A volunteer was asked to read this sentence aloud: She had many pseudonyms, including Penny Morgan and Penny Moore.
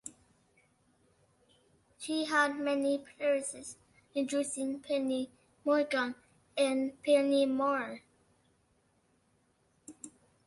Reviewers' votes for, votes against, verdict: 0, 2, rejected